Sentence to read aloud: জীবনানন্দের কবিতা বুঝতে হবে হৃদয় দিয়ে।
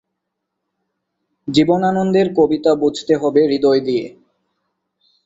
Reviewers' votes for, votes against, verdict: 6, 0, accepted